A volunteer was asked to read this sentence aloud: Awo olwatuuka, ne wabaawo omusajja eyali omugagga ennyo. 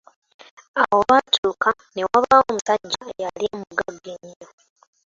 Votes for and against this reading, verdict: 0, 2, rejected